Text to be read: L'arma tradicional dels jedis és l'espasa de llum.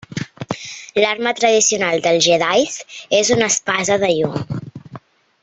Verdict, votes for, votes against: rejected, 1, 2